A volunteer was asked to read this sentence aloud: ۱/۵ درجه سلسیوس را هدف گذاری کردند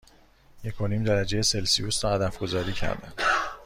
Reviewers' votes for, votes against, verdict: 0, 2, rejected